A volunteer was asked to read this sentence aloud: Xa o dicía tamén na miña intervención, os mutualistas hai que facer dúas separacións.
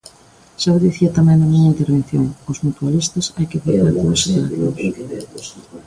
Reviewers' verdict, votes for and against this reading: rejected, 1, 2